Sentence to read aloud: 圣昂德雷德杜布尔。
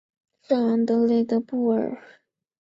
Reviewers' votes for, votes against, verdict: 3, 1, accepted